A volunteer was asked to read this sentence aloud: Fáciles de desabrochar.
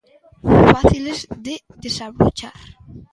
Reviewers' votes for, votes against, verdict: 1, 2, rejected